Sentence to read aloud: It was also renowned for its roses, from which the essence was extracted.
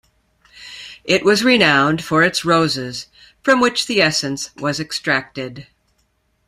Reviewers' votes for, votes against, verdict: 0, 2, rejected